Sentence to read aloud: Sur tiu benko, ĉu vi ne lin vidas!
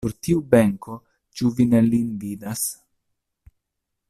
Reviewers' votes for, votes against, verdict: 0, 2, rejected